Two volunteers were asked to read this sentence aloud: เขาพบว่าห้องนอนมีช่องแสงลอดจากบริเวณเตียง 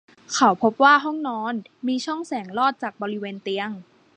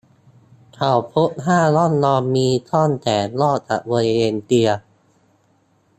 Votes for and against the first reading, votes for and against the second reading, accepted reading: 2, 0, 0, 2, first